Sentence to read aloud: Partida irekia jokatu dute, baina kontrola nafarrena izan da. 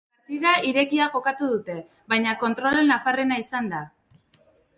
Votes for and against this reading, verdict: 0, 2, rejected